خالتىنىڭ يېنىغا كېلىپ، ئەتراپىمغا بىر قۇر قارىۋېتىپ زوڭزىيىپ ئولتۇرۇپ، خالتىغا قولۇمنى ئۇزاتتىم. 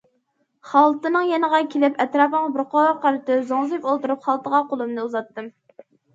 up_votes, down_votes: 0, 2